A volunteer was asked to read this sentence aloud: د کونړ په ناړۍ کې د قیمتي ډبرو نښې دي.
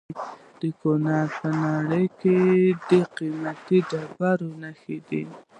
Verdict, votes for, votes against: accepted, 2, 0